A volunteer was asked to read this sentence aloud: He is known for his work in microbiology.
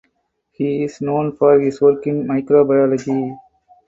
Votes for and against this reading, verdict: 4, 0, accepted